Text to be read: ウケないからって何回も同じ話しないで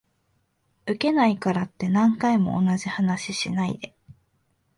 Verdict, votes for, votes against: accepted, 2, 0